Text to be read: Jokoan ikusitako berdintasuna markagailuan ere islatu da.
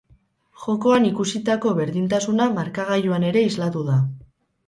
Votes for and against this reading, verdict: 2, 2, rejected